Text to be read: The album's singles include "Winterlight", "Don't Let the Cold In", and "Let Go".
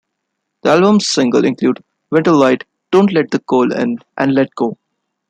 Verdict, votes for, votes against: rejected, 1, 2